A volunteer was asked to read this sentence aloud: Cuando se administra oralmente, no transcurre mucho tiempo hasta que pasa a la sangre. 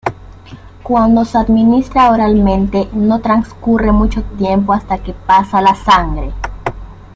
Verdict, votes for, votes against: accepted, 2, 0